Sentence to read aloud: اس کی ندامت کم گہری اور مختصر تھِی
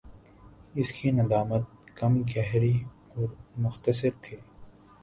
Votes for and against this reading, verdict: 2, 0, accepted